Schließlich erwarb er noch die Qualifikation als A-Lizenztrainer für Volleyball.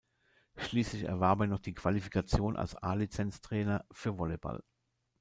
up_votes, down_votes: 1, 2